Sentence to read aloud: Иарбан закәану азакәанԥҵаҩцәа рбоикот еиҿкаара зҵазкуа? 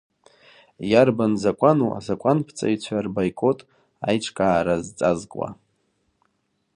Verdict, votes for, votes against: rejected, 1, 2